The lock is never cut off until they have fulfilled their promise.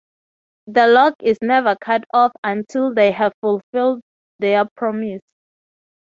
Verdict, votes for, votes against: accepted, 3, 0